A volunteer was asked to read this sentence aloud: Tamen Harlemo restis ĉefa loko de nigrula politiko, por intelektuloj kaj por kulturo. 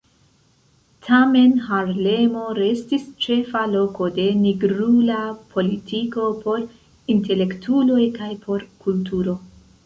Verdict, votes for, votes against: rejected, 0, 2